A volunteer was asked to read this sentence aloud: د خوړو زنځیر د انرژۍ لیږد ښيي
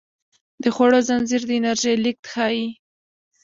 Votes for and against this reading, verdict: 0, 2, rejected